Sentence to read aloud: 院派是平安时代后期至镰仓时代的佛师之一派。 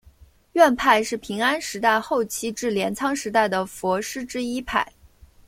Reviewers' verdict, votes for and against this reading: accepted, 2, 0